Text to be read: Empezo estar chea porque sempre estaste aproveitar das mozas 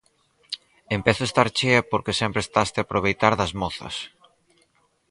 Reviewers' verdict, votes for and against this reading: rejected, 0, 4